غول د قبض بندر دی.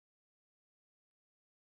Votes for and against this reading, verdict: 0, 2, rejected